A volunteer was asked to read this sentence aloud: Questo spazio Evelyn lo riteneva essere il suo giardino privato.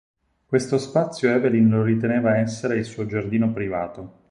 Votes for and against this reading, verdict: 6, 0, accepted